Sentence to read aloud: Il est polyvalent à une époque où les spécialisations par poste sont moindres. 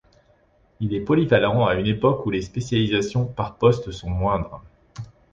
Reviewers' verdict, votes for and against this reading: accepted, 2, 0